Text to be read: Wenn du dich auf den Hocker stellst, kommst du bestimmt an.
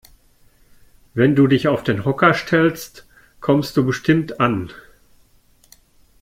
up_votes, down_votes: 2, 0